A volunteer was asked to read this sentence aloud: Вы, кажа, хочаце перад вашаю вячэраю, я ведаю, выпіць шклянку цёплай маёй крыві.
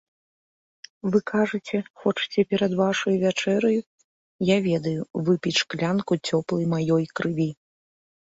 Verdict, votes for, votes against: rejected, 0, 2